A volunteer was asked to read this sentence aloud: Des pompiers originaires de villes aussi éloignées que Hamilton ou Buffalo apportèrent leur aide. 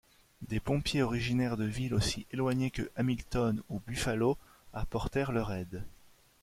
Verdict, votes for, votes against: accepted, 2, 0